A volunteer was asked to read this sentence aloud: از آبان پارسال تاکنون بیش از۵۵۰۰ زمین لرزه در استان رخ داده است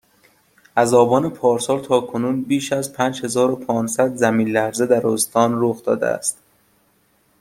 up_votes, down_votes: 0, 2